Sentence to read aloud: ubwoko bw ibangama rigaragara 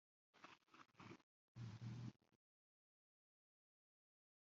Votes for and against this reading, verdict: 1, 2, rejected